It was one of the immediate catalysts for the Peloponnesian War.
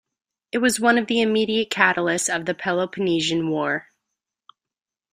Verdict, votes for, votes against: rejected, 1, 2